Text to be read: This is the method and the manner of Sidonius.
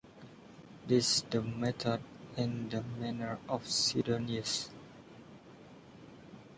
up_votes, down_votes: 0, 2